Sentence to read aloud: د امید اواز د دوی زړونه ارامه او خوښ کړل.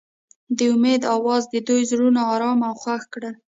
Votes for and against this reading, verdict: 2, 0, accepted